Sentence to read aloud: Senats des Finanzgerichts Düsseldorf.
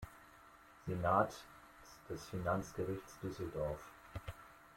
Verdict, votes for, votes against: accepted, 2, 0